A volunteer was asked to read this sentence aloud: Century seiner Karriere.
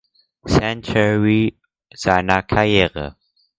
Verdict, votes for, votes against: accepted, 4, 0